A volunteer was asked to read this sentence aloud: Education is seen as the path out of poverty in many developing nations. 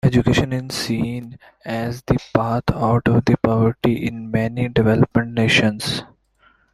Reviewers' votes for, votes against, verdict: 2, 1, accepted